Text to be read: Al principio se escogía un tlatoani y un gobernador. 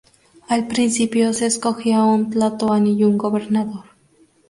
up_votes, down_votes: 2, 0